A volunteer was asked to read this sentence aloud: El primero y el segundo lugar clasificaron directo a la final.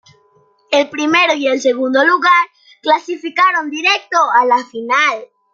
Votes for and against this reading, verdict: 2, 0, accepted